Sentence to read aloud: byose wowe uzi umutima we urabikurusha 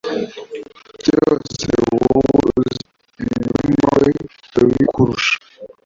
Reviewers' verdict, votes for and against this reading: rejected, 1, 2